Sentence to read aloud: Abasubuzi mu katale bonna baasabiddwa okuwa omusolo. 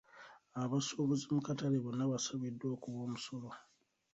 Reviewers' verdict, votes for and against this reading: rejected, 1, 2